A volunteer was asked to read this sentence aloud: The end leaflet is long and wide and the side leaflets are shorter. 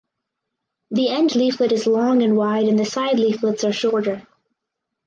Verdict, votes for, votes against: accepted, 4, 0